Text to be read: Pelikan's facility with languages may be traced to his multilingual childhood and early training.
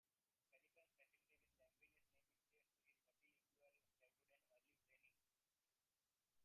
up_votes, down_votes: 0, 2